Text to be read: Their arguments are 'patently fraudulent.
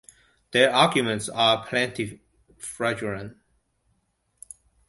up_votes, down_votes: 0, 2